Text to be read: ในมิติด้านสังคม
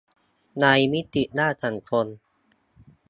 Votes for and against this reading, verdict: 1, 2, rejected